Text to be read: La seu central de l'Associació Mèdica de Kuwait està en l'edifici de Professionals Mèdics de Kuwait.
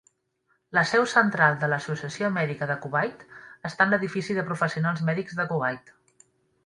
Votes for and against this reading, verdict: 3, 0, accepted